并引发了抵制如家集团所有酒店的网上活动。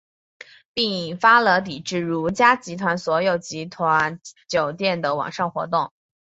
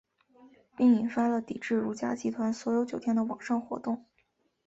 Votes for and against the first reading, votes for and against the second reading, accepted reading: 1, 2, 4, 0, second